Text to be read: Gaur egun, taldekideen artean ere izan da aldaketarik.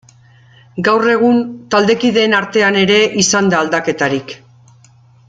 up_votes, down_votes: 2, 0